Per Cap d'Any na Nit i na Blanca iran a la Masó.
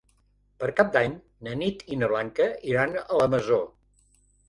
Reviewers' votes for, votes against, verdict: 3, 0, accepted